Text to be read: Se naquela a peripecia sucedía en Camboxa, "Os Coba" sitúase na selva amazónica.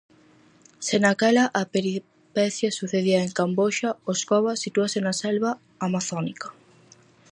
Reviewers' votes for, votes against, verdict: 0, 4, rejected